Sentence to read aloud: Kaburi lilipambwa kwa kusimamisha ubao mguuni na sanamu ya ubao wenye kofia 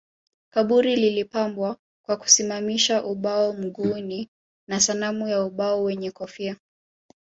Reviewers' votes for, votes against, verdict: 2, 1, accepted